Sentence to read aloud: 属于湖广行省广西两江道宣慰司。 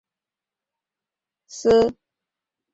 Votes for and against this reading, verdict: 0, 3, rejected